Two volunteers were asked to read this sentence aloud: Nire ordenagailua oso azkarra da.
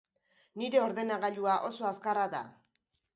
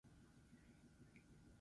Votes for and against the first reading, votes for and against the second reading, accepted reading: 2, 0, 0, 4, first